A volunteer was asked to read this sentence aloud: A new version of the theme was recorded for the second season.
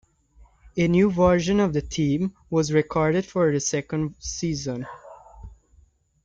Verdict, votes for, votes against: accepted, 2, 0